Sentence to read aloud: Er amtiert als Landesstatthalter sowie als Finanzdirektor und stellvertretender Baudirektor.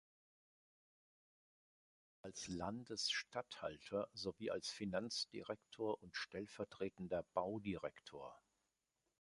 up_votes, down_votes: 0, 2